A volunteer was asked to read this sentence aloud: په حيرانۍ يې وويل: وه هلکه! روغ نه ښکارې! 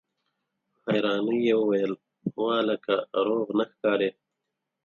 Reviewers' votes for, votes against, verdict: 4, 0, accepted